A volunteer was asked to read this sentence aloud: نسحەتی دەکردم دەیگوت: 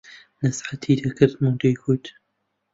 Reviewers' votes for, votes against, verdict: 1, 2, rejected